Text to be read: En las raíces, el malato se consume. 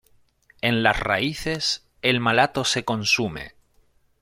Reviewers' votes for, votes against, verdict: 2, 0, accepted